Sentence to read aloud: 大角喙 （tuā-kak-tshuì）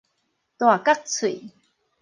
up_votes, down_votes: 4, 0